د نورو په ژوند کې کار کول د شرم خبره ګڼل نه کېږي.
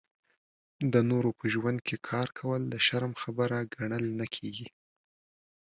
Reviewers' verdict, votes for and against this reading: accepted, 2, 0